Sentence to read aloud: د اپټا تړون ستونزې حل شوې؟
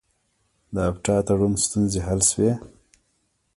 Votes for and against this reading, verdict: 1, 2, rejected